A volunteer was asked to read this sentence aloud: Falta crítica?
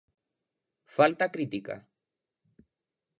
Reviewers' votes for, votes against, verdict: 2, 0, accepted